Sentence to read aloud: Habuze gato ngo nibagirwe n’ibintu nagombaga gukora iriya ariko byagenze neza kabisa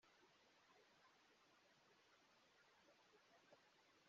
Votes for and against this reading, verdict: 0, 2, rejected